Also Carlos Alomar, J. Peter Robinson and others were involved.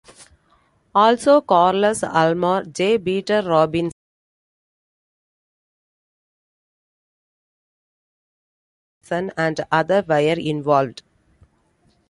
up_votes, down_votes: 0, 2